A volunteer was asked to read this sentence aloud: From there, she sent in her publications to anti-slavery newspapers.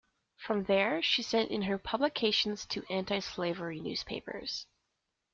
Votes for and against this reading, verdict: 2, 0, accepted